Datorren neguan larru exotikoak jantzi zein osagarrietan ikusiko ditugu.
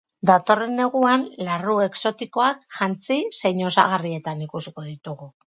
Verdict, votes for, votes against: rejected, 2, 2